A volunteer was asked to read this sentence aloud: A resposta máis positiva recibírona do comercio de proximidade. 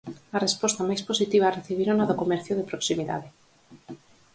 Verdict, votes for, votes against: accepted, 4, 0